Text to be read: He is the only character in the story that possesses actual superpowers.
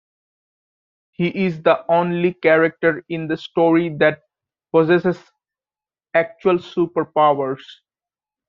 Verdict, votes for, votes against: accepted, 2, 1